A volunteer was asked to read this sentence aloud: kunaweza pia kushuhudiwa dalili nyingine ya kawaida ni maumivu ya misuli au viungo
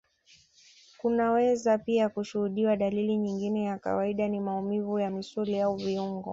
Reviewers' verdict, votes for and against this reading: accepted, 2, 0